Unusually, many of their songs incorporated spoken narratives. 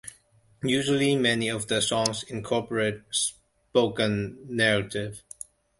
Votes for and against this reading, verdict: 0, 2, rejected